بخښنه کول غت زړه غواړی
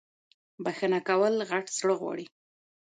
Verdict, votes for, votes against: rejected, 1, 2